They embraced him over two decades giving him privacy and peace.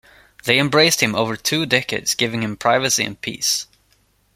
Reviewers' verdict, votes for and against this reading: accepted, 2, 0